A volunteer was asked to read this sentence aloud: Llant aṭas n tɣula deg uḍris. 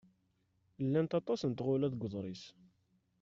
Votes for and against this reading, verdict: 1, 2, rejected